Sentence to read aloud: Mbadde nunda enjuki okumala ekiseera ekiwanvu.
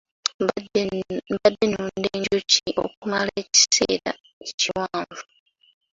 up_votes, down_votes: 0, 2